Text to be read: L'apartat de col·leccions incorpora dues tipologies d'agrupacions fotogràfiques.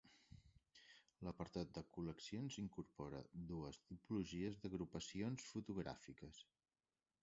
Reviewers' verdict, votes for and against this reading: accepted, 2, 1